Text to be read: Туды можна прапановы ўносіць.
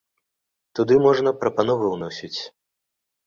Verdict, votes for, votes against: accepted, 2, 0